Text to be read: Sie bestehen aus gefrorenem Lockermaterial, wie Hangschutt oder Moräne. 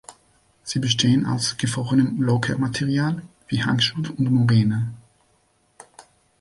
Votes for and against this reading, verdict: 1, 3, rejected